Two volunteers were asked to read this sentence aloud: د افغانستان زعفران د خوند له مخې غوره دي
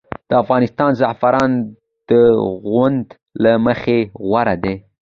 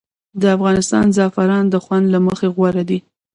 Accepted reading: first